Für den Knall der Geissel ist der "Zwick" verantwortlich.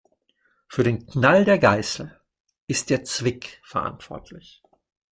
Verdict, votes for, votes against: rejected, 2, 3